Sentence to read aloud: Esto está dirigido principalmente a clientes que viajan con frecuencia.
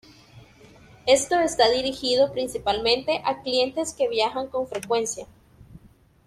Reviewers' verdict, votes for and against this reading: accepted, 2, 0